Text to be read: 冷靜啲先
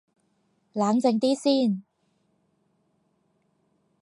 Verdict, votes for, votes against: rejected, 2, 2